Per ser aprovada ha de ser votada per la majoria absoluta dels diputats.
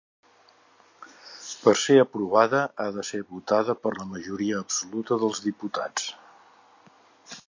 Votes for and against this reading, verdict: 2, 0, accepted